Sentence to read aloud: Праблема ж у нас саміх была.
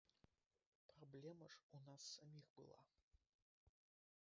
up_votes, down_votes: 0, 2